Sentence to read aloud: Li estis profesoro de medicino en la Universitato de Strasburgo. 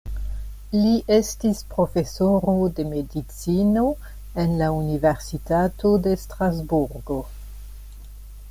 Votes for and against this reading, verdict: 2, 0, accepted